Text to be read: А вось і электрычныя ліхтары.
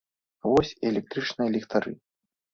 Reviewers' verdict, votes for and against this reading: rejected, 1, 2